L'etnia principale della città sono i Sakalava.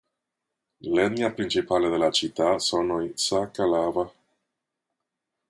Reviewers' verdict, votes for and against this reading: rejected, 1, 2